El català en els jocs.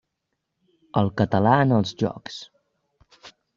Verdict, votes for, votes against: accepted, 3, 0